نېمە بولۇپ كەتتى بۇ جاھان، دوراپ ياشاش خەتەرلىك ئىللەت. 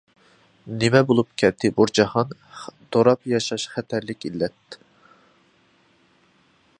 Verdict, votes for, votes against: accepted, 2, 0